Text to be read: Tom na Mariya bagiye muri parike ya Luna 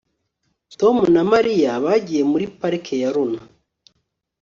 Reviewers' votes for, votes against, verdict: 2, 0, accepted